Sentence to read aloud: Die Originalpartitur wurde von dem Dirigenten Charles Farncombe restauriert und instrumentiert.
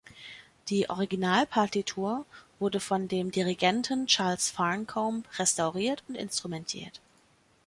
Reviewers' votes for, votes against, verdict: 3, 0, accepted